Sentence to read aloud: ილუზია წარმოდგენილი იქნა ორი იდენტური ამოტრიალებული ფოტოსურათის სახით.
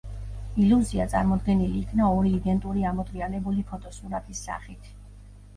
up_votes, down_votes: 2, 0